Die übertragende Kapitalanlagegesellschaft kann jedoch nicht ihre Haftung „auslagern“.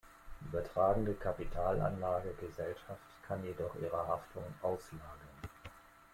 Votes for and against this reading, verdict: 1, 2, rejected